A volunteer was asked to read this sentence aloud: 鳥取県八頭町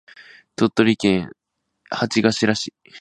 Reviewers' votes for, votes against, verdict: 0, 2, rejected